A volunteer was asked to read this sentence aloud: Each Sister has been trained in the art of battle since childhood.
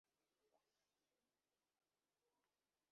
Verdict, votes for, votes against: rejected, 0, 2